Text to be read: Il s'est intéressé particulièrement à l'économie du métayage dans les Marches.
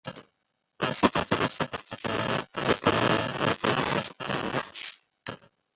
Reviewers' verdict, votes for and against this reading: rejected, 0, 2